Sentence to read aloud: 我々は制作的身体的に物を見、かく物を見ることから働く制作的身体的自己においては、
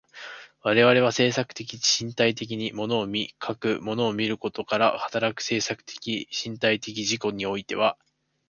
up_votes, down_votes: 2, 0